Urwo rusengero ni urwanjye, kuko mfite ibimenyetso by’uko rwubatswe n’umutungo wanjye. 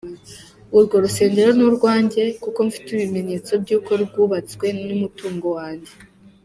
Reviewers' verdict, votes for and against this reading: accepted, 2, 0